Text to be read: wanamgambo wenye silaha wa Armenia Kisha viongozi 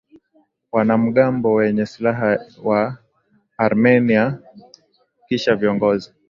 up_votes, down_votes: 4, 0